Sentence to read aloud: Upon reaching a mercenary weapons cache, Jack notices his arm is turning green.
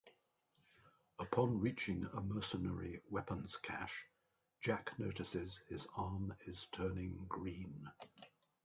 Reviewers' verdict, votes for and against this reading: accepted, 2, 1